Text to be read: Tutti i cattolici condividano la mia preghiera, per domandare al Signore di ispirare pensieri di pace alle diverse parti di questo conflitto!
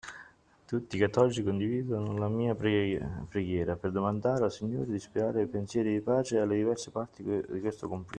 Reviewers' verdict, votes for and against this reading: rejected, 1, 2